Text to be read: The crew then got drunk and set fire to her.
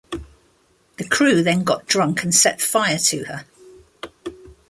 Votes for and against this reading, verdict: 1, 2, rejected